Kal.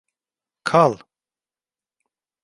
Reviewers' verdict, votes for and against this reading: accepted, 2, 0